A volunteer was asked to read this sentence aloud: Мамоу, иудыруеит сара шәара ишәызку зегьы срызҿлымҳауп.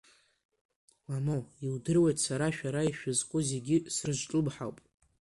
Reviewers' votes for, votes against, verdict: 2, 1, accepted